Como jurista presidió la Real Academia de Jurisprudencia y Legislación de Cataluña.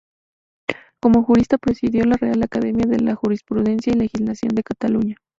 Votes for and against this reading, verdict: 2, 0, accepted